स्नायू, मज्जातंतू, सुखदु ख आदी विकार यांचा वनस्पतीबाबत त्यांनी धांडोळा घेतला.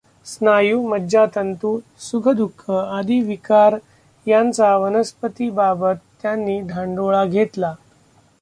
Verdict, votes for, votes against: rejected, 0, 2